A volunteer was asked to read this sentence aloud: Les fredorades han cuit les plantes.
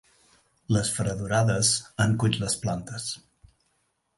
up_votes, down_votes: 3, 0